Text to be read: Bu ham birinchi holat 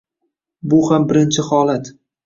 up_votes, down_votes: 2, 0